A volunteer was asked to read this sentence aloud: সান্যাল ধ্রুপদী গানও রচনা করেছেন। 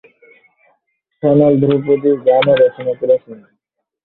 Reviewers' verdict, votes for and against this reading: rejected, 2, 3